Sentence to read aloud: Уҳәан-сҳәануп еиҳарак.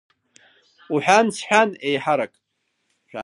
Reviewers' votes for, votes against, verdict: 1, 2, rejected